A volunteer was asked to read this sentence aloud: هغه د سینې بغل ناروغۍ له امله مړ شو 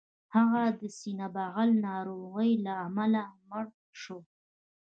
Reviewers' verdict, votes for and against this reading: rejected, 1, 2